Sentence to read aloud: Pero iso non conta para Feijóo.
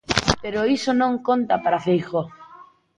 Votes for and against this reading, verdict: 1, 2, rejected